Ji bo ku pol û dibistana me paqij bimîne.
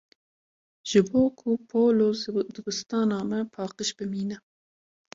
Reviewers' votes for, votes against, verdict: 1, 2, rejected